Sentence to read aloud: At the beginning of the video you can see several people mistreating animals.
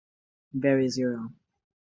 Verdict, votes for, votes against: rejected, 0, 2